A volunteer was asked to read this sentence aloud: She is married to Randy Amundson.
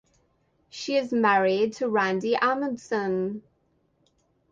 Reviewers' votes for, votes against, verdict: 4, 4, rejected